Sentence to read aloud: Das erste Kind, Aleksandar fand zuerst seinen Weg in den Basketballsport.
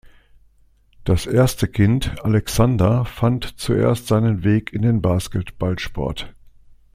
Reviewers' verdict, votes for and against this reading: accepted, 2, 0